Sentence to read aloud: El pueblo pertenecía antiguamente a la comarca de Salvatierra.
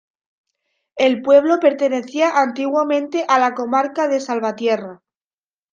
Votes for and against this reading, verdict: 2, 1, accepted